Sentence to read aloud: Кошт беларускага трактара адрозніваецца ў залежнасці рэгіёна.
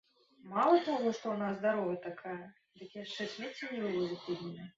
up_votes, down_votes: 0, 2